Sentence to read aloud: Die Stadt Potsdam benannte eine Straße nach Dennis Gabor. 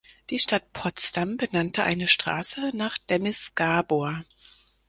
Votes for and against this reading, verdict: 4, 0, accepted